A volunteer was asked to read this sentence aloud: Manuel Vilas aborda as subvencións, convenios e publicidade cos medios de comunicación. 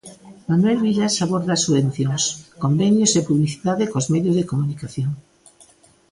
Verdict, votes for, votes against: accepted, 2, 1